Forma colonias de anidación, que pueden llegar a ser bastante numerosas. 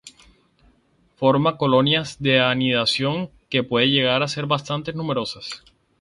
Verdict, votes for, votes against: rejected, 0, 2